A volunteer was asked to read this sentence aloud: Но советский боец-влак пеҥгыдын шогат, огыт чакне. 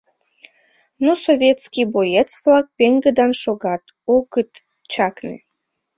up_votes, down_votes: 2, 0